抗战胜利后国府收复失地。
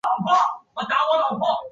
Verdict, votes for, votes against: rejected, 1, 2